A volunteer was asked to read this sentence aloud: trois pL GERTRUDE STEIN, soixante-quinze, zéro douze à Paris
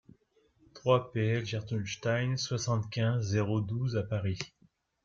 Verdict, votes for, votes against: accepted, 2, 0